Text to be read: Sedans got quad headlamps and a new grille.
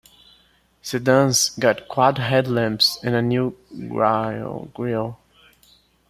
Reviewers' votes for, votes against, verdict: 0, 2, rejected